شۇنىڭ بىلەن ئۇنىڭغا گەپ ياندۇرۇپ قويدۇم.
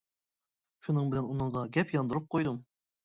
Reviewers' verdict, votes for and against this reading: accepted, 2, 0